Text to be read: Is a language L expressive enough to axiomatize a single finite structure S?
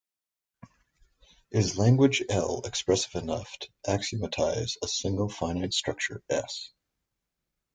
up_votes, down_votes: 0, 2